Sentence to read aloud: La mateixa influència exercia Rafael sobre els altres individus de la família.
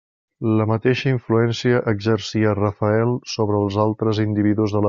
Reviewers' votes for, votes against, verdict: 0, 2, rejected